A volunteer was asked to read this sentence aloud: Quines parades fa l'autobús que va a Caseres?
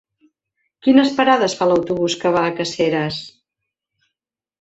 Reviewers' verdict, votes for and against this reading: accepted, 2, 1